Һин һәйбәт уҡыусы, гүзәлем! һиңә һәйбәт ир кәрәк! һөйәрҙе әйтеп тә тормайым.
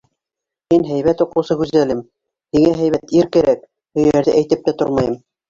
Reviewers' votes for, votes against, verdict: 0, 2, rejected